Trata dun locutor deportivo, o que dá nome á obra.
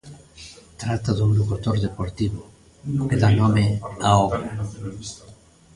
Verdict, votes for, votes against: rejected, 0, 2